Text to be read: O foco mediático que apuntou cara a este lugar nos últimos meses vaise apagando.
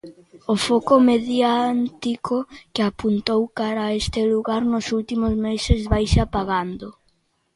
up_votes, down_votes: 0, 2